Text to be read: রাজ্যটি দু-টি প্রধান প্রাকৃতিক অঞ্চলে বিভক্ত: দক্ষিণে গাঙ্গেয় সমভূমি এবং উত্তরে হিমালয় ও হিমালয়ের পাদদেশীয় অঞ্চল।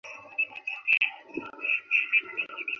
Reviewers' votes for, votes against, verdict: 0, 3, rejected